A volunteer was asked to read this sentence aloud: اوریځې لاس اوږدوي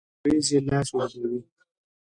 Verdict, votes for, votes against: rejected, 0, 2